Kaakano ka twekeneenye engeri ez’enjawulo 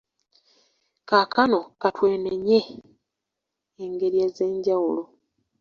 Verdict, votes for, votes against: accepted, 2, 0